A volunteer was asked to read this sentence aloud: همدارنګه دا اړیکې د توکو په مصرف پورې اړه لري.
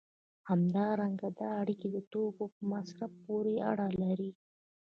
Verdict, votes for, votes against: accepted, 2, 0